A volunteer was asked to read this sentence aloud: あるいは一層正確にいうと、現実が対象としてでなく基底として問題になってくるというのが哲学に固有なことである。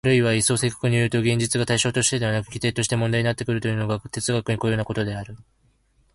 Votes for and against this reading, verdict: 1, 2, rejected